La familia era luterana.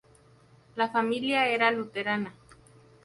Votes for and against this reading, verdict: 2, 0, accepted